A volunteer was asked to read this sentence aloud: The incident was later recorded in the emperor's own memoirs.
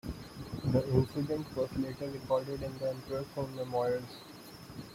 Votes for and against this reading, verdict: 1, 2, rejected